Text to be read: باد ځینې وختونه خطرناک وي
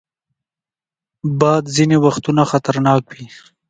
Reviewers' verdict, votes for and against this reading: accepted, 2, 0